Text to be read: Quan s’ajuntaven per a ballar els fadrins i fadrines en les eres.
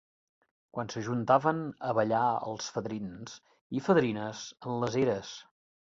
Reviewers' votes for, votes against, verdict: 0, 2, rejected